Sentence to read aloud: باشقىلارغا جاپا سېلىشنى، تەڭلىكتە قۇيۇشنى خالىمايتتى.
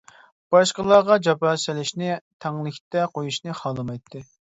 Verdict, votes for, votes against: accepted, 2, 0